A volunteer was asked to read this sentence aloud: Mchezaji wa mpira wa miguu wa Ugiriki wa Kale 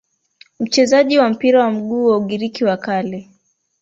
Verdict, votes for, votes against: accepted, 3, 0